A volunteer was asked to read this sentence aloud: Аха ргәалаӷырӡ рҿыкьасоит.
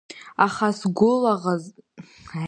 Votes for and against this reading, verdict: 1, 2, rejected